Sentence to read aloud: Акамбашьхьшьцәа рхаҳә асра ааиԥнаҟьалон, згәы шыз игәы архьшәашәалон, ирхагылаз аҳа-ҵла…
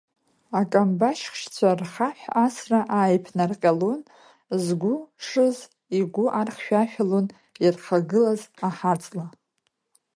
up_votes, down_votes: 3, 0